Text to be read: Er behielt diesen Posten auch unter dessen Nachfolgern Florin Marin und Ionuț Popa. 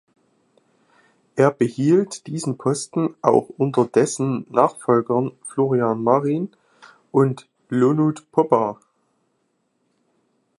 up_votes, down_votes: 0, 2